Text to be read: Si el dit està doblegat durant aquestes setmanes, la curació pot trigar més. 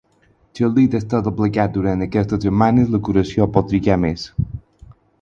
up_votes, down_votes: 4, 0